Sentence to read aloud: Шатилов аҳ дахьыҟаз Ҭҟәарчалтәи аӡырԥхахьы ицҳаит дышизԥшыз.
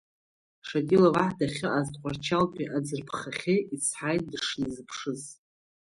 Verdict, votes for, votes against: accepted, 2, 1